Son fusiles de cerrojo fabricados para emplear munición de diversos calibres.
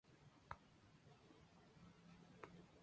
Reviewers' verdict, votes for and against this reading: rejected, 0, 2